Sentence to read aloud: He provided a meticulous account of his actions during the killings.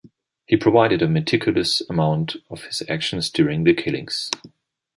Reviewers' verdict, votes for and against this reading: rejected, 0, 2